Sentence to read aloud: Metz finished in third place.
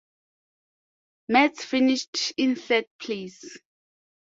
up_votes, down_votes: 2, 0